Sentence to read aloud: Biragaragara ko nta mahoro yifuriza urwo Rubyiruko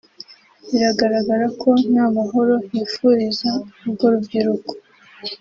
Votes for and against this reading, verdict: 2, 1, accepted